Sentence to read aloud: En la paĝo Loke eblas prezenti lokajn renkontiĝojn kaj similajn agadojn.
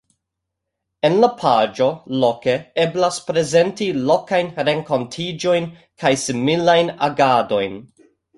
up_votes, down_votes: 2, 1